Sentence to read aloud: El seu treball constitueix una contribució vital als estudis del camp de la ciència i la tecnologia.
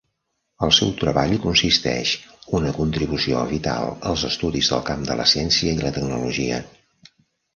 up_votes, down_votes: 0, 2